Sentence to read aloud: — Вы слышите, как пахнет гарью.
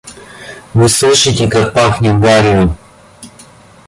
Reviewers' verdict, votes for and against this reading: accepted, 2, 0